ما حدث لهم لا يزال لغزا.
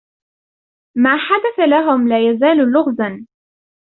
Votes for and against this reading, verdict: 2, 0, accepted